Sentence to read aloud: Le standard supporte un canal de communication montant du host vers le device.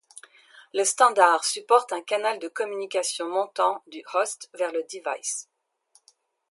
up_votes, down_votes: 2, 0